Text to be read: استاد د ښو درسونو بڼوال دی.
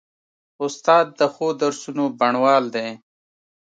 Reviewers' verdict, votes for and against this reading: accepted, 2, 0